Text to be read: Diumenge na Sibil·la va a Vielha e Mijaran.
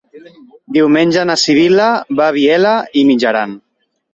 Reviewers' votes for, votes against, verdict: 2, 0, accepted